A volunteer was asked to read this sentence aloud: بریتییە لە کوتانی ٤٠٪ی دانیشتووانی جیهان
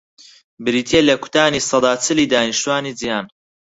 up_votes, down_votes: 0, 2